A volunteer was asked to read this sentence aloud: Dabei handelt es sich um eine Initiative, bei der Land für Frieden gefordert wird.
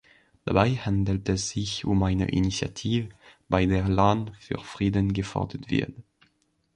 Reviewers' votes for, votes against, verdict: 0, 2, rejected